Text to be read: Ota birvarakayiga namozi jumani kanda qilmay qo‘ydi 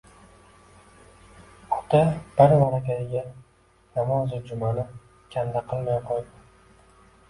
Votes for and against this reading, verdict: 1, 2, rejected